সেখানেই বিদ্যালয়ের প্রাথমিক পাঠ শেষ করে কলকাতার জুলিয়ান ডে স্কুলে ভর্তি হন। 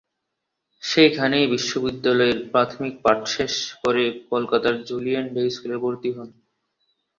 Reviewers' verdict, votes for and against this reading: accepted, 3, 0